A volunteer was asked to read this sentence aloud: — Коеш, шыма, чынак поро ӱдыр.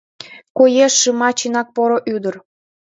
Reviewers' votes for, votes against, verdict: 3, 0, accepted